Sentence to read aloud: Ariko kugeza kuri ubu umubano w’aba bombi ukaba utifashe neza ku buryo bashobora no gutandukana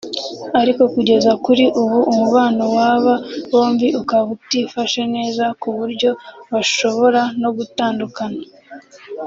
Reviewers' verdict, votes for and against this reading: accepted, 2, 1